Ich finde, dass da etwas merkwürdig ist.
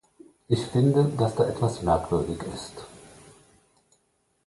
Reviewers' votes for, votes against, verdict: 2, 0, accepted